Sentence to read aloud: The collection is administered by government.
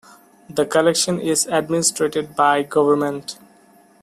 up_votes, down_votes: 0, 2